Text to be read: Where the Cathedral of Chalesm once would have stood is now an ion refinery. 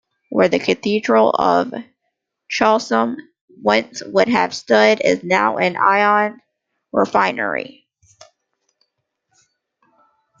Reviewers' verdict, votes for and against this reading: accepted, 2, 1